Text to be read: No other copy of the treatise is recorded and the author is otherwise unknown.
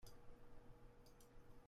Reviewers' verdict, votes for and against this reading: rejected, 0, 2